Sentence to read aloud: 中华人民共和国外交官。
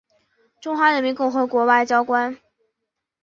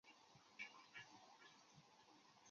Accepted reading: first